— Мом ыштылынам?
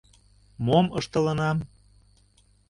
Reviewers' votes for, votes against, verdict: 2, 0, accepted